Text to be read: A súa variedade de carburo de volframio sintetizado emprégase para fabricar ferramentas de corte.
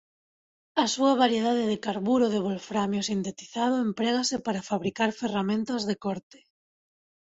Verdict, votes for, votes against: rejected, 0, 2